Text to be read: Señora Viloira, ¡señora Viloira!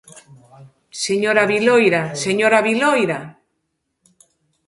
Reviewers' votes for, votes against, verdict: 2, 0, accepted